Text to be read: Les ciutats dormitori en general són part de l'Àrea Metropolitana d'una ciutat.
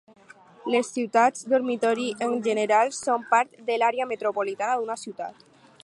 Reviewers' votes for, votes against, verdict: 4, 0, accepted